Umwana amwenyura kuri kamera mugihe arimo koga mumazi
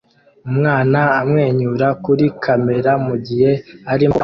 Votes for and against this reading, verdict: 0, 2, rejected